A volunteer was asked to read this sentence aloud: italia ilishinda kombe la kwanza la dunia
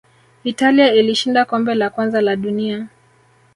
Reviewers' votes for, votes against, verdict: 1, 2, rejected